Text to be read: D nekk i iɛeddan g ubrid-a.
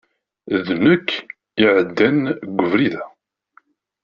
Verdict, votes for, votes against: rejected, 1, 2